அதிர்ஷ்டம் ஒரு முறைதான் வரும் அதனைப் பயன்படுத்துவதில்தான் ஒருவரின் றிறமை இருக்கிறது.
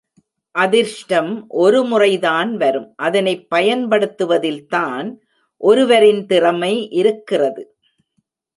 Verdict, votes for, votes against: rejected, 1, 2